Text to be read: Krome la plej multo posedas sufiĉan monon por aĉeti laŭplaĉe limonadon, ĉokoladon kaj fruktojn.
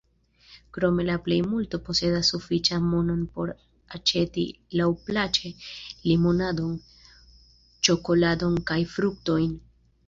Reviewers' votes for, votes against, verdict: 2, 0, accepted